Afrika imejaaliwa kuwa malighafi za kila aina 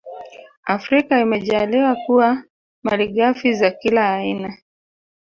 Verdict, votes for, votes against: rejected, 1, 2